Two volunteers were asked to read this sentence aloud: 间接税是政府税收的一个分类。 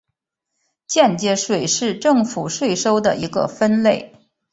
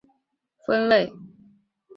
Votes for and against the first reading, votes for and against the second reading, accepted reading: 2, 0, 0, 4, first